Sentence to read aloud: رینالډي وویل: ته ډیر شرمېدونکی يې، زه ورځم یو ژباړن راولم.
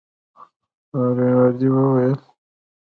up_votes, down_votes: 0, 2